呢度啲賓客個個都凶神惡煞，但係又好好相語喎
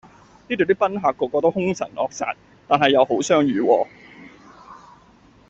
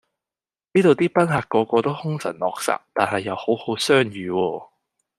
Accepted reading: second